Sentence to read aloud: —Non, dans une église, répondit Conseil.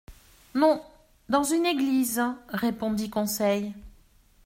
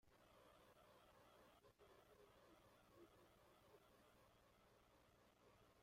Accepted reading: first